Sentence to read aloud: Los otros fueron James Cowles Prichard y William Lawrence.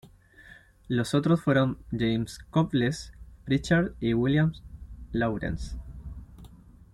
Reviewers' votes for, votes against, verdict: 2, 1, accepted